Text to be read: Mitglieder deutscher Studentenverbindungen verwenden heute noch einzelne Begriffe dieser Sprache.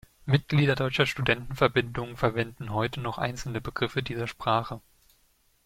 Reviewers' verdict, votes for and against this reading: accepted, 2, 0